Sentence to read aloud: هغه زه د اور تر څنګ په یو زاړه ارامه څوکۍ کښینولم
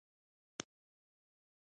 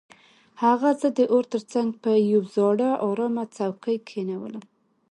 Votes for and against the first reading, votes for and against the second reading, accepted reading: 1, 2, 2, 0, second